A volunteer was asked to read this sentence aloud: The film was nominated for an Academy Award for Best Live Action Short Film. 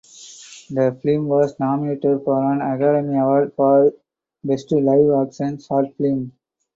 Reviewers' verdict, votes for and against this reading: rejected, 2, 2